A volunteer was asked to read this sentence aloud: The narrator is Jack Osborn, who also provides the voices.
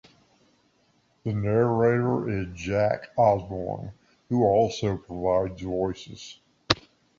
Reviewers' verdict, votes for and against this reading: accepted, 2, 1